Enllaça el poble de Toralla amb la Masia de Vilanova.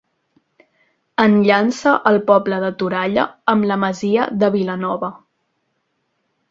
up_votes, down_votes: 0, 2